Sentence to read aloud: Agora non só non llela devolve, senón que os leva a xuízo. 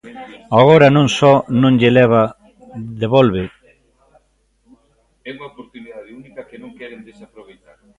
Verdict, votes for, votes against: rejected, 0, 2